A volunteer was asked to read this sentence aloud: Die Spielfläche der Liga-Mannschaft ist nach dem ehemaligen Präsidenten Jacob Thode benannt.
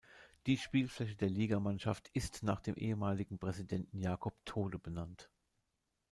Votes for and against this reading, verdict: 1, 2, rejected